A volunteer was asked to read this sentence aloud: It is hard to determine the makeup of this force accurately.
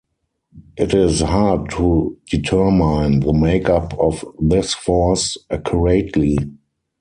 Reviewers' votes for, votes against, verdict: 2, 4, rejected